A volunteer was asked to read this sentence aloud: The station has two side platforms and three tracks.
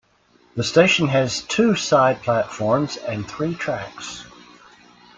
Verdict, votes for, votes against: accepted, 2, 0